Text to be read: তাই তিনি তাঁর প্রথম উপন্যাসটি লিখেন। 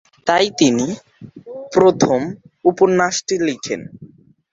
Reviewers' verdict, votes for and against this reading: rejected, 0, 2